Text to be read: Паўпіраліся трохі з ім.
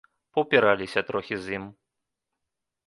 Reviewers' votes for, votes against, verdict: 2, 0, accepted